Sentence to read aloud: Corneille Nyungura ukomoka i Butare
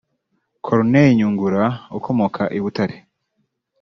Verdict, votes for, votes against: rejected, 0, 2